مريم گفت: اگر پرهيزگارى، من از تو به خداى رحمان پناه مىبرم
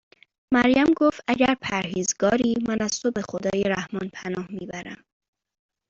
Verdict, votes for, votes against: accepted, 2, 1